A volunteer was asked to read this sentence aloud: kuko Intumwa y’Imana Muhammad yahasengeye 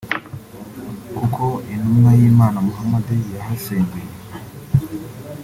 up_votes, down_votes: 2, 1